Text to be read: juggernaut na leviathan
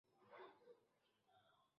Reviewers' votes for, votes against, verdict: 0, 2, rejected